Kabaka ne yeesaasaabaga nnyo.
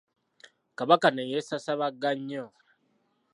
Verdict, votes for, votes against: accepted, 2, 0